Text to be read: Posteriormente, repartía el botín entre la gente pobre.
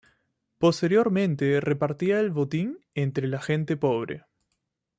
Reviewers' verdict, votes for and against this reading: accepted, 2, 0